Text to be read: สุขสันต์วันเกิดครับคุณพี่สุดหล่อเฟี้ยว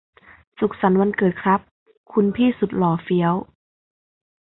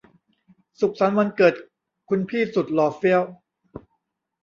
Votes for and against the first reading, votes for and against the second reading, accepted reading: 2, 0, 1, 2, first